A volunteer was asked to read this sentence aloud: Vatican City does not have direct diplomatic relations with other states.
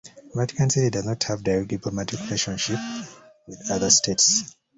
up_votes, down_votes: 0, 2